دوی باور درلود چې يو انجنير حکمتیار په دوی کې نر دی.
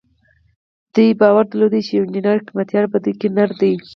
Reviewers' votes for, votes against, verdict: 4, 0, accepted